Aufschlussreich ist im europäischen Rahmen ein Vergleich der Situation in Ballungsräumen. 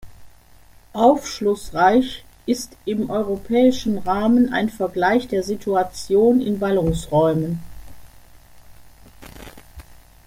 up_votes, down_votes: 2, 0